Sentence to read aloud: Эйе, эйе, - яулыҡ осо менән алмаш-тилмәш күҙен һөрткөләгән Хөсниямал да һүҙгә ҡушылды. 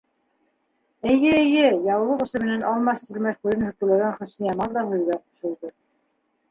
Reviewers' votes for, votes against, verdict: 0, 2, rejected